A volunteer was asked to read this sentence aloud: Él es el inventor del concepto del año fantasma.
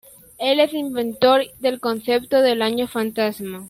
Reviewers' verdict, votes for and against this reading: rejected, 0, 2